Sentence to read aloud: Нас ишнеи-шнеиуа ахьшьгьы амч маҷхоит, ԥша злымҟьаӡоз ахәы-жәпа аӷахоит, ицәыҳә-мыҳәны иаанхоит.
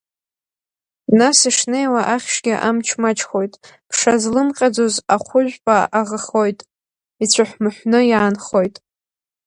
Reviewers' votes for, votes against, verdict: 4, 2, accepted